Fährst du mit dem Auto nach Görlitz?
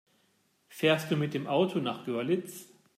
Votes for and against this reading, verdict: 2, 0, accepted